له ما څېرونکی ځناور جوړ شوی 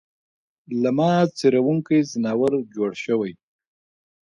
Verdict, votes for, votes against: rejected, 0, 2